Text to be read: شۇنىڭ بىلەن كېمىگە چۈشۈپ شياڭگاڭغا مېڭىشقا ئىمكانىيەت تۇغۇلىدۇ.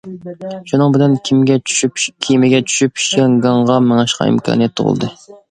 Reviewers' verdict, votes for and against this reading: rejected, 0, 2